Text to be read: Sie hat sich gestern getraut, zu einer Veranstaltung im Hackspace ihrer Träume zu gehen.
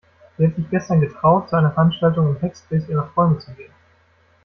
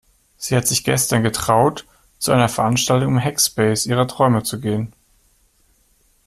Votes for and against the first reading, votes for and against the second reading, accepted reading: 0, 2, 2, 1, second